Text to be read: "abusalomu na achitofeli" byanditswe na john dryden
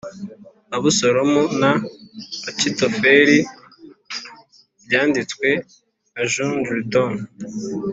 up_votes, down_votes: 2, 0